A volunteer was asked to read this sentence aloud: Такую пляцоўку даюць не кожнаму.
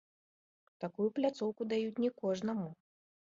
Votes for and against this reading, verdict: 2, 1, accepted